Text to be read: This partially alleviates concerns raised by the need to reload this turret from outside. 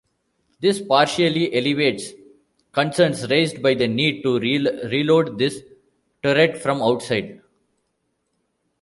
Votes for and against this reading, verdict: 0, 2, rejected